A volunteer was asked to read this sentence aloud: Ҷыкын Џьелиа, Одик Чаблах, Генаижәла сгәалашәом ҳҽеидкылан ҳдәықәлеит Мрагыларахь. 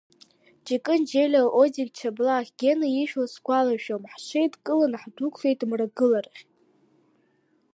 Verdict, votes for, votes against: rejected, 1, 2